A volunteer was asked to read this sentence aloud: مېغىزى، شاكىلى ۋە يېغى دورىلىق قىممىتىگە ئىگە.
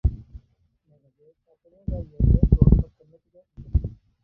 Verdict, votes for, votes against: rejected, 0, 2